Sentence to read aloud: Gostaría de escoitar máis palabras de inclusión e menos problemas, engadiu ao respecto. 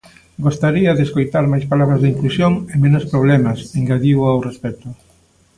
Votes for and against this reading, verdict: 2, 1, accepted